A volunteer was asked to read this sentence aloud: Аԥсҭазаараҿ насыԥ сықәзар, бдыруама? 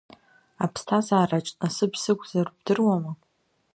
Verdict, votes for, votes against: accepted, 2, 1